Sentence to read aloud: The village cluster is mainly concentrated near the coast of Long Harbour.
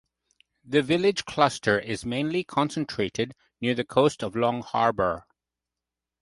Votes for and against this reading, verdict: 2, 0, accepted